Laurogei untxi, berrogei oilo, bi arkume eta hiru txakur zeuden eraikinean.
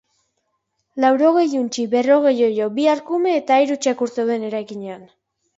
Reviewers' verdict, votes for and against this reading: accepted, 3, 0